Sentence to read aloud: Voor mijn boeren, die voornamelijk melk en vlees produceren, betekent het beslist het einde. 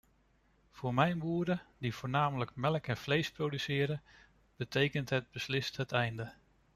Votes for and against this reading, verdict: 2, 0, accepted